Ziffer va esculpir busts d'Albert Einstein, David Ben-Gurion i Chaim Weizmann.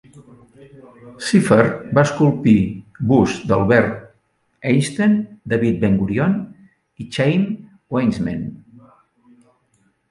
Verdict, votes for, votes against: accepted, 2, 1